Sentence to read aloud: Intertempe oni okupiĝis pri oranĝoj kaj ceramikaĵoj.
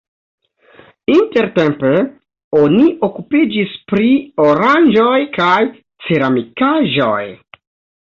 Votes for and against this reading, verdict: 2, 0, accepted